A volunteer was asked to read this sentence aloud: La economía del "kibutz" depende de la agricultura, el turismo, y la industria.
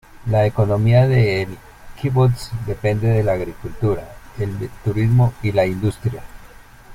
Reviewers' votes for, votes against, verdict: 0, 2, rejected